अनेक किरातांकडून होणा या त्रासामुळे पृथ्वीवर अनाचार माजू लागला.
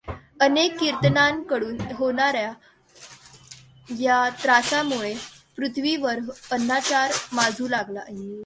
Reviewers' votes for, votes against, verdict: 1, 2, rejected